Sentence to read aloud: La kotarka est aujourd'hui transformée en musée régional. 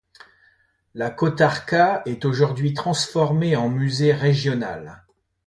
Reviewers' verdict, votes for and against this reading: accepted, 2, 0